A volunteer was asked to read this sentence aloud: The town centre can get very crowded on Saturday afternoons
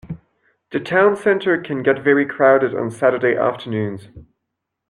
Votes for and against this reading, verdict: 2, 0, accepted